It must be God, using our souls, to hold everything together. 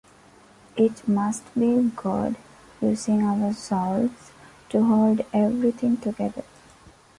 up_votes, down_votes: 0, 2